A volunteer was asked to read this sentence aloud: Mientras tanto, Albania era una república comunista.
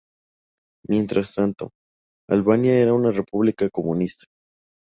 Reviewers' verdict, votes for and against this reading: accepted, 4, 0